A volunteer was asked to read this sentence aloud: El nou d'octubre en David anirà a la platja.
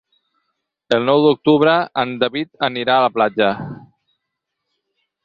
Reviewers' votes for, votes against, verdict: 6, 0, accepted